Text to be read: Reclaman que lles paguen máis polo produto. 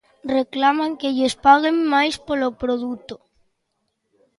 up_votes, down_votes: 2, 0